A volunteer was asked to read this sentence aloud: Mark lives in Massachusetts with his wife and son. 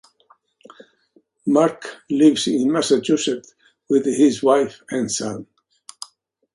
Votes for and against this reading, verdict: 2, 1, accepted